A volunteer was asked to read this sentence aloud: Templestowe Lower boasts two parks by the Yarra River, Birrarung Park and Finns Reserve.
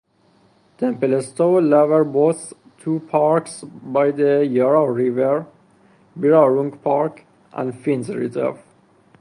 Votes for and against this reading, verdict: 2, 0, accepted